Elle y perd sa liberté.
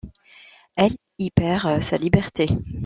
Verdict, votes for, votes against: rejected, 0, 2